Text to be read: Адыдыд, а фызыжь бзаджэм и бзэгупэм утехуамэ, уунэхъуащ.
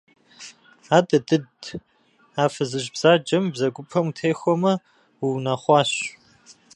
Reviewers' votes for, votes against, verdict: 2, 0, accepted